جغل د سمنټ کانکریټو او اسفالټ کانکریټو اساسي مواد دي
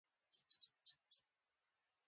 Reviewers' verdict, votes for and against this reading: accepted, 2, 1